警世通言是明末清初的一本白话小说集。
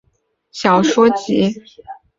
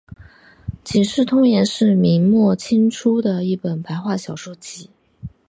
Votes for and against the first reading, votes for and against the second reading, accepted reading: 1, 4, 6, 0, second